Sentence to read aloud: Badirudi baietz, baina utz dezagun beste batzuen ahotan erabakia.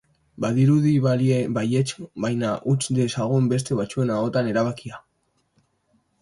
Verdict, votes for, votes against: rejected, 1, 3